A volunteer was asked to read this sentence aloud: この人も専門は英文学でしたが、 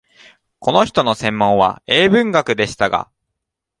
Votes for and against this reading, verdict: 0, 2, rejected